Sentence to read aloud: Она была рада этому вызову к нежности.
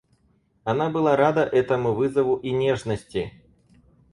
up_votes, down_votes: 0, 4